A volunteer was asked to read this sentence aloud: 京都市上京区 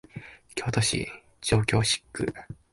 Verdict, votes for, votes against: accepted, 5, 3